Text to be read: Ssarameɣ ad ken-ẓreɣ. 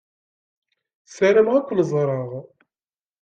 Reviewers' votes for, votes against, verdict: 2, 0, accepted